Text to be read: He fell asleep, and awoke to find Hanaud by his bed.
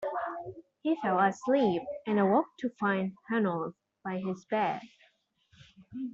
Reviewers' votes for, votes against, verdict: 2, 0, accepted